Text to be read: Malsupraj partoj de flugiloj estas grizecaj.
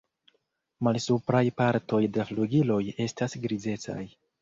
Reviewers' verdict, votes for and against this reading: accepted, 2, 0